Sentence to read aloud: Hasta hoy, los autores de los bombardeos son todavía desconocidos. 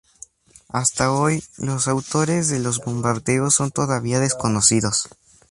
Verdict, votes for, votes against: accepted, 4, 0